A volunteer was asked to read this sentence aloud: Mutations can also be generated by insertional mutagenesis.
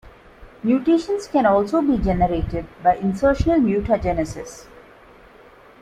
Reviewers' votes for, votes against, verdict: 2, 0, accepted